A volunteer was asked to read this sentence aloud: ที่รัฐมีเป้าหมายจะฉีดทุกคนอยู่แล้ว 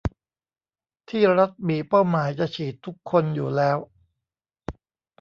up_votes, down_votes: 0, 2